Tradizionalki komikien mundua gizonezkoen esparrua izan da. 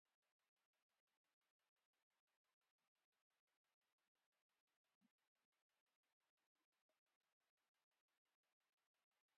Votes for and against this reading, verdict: 0, 2, rejected